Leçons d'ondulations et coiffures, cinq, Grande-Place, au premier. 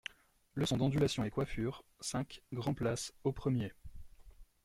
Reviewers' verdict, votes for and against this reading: accepted, 2, 1